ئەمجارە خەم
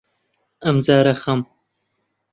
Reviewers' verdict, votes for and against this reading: accepted, 2, 0